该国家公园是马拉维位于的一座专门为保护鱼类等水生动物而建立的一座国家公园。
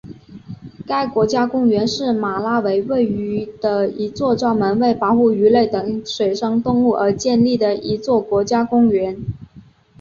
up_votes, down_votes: 3, 0